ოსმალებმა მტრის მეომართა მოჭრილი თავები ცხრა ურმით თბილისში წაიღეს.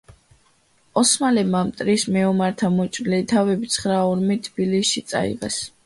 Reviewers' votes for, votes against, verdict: 2, 0, accepted